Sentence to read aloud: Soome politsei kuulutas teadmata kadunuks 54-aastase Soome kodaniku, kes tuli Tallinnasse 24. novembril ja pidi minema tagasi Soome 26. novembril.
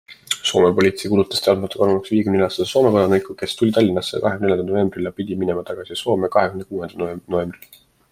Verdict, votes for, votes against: rejected, 0, 2